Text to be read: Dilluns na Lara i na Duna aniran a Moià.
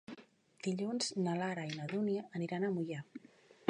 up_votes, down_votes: 0, 2